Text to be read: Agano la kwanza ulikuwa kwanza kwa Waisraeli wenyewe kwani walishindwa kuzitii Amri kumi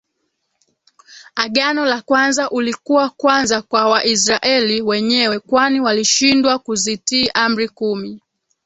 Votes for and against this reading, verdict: 2, 1, accepted